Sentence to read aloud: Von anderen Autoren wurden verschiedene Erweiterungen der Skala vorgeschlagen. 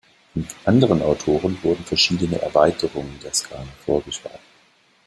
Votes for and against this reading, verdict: 0, 2, rejected